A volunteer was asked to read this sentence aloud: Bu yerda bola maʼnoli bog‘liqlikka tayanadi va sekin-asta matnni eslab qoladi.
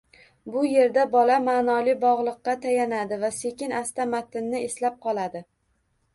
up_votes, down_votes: 1, 2